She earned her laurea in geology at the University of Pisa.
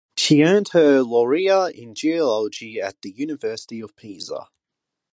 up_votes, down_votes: 4, 0